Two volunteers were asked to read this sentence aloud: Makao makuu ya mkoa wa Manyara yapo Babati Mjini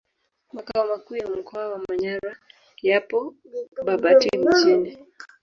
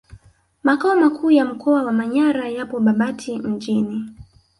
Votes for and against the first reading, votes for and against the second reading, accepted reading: 0, 2, 2, 0, second